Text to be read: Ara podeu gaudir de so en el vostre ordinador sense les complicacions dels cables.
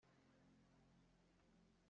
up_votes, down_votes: 0, 2